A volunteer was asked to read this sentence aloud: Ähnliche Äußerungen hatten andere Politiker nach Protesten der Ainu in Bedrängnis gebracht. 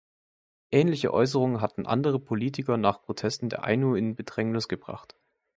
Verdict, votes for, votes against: accepted, 2, 0